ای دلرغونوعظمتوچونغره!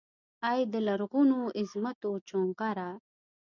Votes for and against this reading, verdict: 2, 0, accepted